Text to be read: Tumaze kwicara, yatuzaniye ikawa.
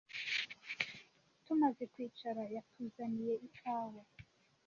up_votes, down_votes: 2, 0